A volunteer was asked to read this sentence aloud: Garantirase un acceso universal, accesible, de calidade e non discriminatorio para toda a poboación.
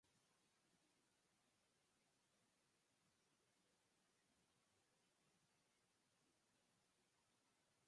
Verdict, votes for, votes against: rejected, 0, 4